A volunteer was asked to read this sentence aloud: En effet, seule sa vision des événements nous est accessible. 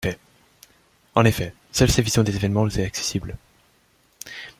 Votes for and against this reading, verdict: 0, 2, rejected